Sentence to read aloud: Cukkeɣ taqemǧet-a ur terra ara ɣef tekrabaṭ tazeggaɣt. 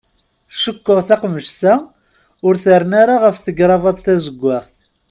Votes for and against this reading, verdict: 1, 2, rejected